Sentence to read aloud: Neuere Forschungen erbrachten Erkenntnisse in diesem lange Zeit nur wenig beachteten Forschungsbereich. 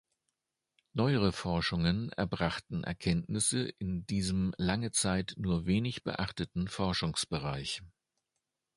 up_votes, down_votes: 2, 0